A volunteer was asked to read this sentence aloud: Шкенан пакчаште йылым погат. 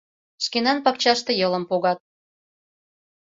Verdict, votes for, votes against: accepted, 2, 0